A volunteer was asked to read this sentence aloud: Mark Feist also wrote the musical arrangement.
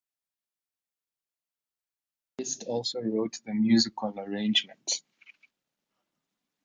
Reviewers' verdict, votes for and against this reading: rejected, 1, 2